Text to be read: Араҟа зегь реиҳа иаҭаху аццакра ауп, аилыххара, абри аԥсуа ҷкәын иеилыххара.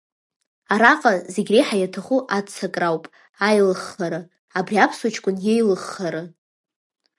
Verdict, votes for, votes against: accepted, 2, 0